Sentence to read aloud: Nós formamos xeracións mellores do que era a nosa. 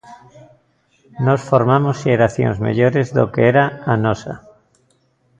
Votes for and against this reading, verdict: 2, 0, accepted